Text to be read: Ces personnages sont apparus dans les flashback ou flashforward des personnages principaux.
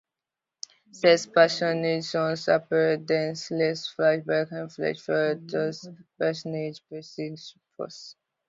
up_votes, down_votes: 0, 2